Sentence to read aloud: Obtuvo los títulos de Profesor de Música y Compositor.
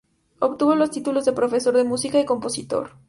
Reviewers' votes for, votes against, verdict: 2, 0, accepted